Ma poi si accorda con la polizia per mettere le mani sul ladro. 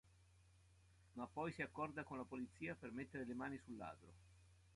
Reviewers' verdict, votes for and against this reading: accepted, 2, 0